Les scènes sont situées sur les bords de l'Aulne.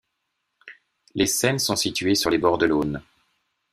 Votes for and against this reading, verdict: 2, 0, accepted